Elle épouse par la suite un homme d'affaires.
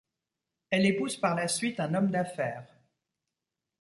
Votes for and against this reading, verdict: 2, 0, accepted